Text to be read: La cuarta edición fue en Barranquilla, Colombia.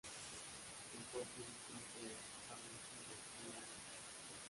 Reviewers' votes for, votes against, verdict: 0, 2, rejected